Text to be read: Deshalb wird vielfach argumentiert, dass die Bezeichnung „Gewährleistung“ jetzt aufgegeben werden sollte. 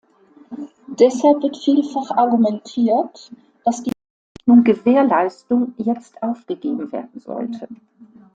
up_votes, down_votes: 0, 2